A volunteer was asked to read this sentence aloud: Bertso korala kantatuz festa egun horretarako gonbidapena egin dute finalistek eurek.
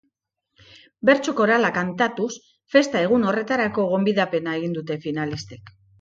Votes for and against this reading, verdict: 1, 2, rejected